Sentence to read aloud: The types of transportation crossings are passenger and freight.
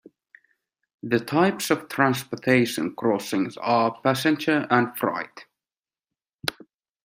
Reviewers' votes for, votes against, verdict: 1, 2, rejected